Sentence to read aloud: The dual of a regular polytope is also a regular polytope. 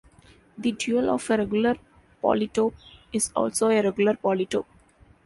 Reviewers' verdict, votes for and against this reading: accepted, 2, 0